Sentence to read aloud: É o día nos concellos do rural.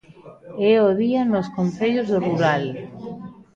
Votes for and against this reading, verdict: 2, 1, accepted